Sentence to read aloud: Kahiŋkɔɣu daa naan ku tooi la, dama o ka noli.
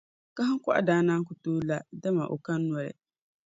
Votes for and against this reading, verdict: 2, 1, accepted